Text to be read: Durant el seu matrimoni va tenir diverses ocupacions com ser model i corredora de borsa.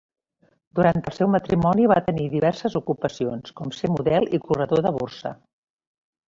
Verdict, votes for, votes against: rejected, 0, 2